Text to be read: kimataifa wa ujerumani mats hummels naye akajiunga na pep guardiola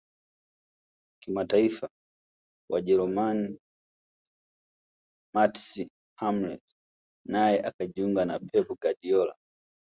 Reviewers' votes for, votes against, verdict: 1, 2, rejected